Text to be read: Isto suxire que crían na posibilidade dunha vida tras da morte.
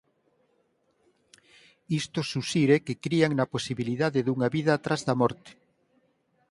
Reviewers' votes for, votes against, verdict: 4, 0, accepted